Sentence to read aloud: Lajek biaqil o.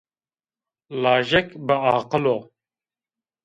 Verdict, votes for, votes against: accepted, 2, 0